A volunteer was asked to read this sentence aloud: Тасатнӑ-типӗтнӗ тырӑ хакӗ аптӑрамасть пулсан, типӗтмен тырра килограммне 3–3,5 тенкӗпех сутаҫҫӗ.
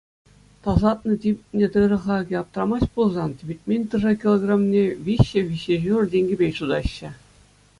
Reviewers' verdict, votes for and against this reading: rejected, 0, 2